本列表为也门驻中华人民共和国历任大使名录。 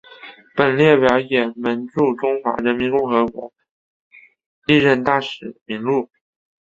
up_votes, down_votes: 1, 2